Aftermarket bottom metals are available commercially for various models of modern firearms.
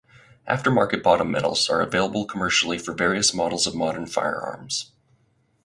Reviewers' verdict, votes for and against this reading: accepted, 4, 2